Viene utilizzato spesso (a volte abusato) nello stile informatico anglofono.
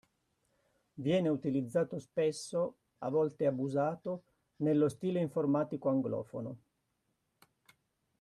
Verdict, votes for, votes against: accepted, 2, 0